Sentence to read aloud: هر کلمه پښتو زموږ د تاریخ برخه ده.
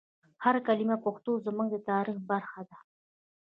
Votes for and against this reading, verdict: 1, 2, rejected